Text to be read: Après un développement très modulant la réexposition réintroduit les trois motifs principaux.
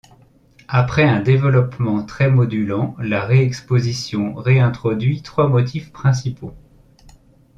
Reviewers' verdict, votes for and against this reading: rejected, 0, 2